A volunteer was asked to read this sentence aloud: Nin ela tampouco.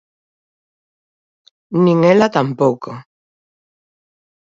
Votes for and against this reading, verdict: 2, 1, accepted